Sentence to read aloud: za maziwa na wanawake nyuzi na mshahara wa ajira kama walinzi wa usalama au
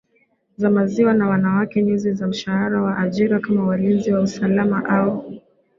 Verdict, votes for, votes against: accepted, 2, 0